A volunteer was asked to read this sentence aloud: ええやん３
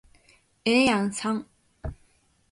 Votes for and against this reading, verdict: 0, 2, rejected